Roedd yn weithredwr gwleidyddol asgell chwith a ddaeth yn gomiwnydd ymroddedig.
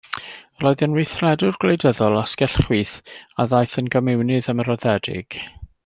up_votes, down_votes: 2, 0